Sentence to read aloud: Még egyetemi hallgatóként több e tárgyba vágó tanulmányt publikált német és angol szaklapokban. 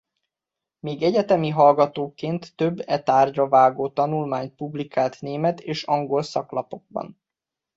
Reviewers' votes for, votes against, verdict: 2, 0, accepted